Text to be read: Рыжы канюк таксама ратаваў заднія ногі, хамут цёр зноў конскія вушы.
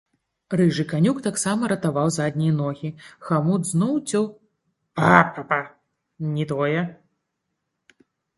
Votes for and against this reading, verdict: 0, 2, rejected